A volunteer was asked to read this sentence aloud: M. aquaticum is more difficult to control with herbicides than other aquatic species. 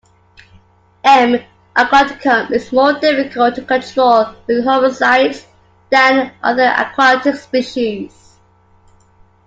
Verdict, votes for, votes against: accepted, 2, 0